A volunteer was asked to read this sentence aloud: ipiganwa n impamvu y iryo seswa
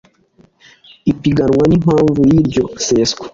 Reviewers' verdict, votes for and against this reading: accepted, 2, 0